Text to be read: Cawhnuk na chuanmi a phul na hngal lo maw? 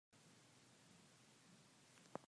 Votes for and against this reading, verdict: 0, 2, rejected